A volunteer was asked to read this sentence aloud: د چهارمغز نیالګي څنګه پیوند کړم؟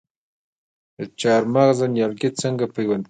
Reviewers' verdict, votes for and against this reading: accepted, 2, 0